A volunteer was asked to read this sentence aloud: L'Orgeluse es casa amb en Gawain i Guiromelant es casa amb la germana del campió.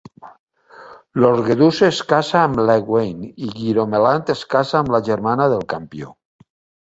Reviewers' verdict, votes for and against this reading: rejected, 1, 2